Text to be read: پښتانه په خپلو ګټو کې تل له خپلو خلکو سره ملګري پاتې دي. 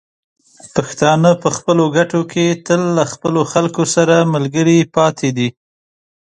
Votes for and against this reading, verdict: 2, 0, accepted